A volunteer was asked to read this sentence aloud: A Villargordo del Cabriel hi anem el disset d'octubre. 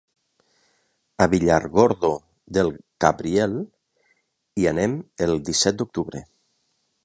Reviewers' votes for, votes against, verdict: 3, 0, accepted